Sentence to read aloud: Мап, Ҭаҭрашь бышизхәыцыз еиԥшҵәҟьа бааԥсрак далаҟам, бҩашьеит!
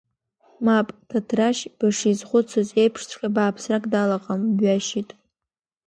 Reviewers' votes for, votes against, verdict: 2, 0, accepted